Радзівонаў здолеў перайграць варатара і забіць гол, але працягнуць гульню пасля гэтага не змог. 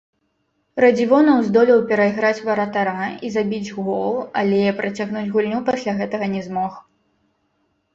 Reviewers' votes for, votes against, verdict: 1, 2, rejected